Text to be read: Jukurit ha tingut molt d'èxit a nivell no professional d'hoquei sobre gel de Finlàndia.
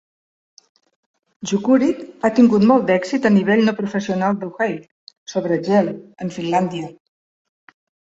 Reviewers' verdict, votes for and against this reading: rejected, 1, 2